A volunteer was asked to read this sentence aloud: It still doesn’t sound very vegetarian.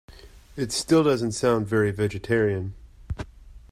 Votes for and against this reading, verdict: 2, 0, accepted